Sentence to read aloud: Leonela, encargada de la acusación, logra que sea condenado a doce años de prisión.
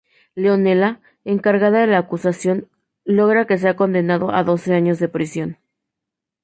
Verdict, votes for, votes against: accepted, 2, 0